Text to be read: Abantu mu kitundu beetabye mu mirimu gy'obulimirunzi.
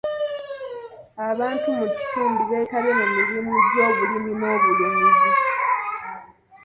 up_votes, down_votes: 1, 2